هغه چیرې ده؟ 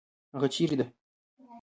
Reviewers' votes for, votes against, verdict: 2, 0, accepted